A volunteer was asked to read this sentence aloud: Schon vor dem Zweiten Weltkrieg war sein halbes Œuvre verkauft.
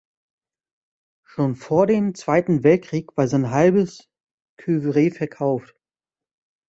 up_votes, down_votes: 1, 2